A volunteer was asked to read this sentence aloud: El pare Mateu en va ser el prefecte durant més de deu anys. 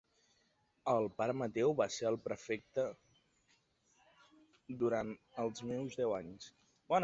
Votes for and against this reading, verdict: 0, 2, rejected